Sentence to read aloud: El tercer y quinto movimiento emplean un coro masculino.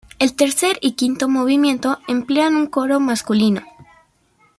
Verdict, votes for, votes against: accepted, 2, 1